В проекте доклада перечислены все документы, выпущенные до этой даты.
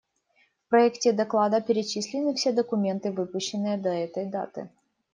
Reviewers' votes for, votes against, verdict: 2, 0, accepted